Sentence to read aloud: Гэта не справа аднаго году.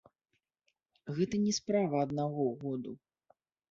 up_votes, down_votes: 1, 3